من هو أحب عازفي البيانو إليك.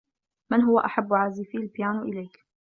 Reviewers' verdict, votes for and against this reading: accepted, 2, 0